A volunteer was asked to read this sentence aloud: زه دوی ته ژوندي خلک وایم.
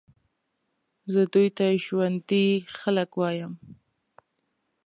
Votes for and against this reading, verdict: 2, 0, accepted